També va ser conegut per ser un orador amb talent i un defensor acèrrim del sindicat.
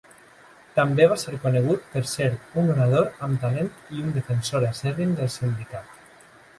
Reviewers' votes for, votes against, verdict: 2, 0, accepted